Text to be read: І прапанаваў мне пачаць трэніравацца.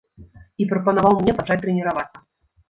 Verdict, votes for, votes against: rejected, 0, 2